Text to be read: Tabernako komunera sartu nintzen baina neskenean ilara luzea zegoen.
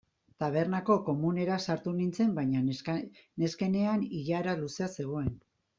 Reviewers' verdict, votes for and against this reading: rejected, 0, 2